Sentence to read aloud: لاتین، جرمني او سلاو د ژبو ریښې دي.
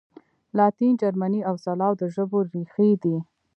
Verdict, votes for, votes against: accepted, 2, 1